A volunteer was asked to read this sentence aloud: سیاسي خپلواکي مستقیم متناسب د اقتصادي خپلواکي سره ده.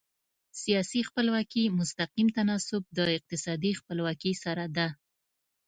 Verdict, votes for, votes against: rejected, 0, 2